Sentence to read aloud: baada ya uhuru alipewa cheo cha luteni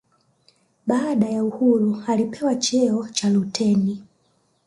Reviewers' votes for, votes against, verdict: 1, 2, rejected